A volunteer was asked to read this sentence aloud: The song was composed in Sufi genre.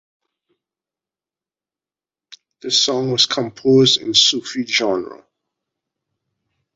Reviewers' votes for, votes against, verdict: 2, 0, accepted